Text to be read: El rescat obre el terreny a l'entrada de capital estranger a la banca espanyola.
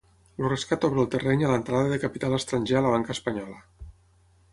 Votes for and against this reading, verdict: 0, 6, rejected